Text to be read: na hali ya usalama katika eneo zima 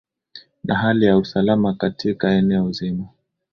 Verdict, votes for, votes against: accepted, 3, 0